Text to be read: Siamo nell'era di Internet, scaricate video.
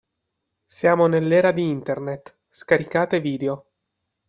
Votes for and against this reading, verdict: 2, 0, accepted